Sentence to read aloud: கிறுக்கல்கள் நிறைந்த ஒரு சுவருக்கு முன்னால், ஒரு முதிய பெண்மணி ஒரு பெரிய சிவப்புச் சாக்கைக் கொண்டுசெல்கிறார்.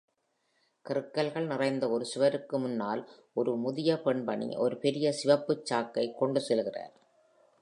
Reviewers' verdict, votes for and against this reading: accepted, 2, 0